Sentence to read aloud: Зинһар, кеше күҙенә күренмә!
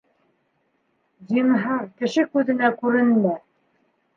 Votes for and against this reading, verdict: 1, 2, rejected